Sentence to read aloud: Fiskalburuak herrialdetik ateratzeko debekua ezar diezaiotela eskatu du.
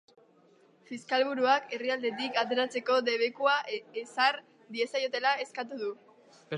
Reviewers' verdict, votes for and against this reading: accepted, 2, 0